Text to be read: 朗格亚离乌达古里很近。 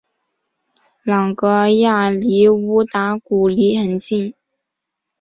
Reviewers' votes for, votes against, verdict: 3, 0, accepted